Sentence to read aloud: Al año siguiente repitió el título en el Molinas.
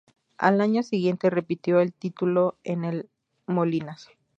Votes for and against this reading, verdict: 2, 0, accepted